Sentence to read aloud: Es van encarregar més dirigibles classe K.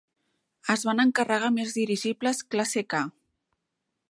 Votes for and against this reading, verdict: 2, 1, accepted